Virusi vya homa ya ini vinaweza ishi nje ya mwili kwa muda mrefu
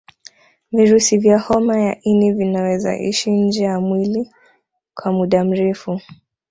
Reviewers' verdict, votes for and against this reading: accepted, 2, 0